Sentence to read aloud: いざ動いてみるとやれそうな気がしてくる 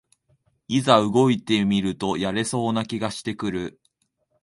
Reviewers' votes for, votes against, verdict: 2, 0, accepted